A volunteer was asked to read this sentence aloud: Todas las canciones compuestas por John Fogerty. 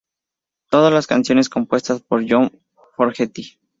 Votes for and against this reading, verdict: 2, 0, accepted